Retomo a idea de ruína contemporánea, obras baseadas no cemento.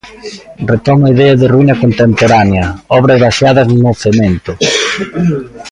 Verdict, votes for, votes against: rejected, 1, 2